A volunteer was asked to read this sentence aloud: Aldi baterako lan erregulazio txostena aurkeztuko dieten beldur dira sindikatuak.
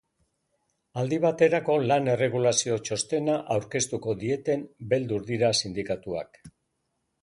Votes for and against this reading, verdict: 2, 0, accepted